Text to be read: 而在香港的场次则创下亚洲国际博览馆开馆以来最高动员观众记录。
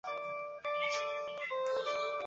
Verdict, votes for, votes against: rejected, 1, 4